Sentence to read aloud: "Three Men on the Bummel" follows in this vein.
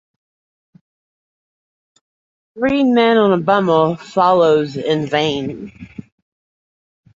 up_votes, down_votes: 0, 2